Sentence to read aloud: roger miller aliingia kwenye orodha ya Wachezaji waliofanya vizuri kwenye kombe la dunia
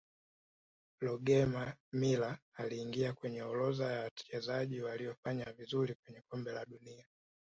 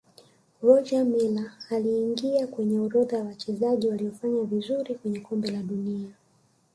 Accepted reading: second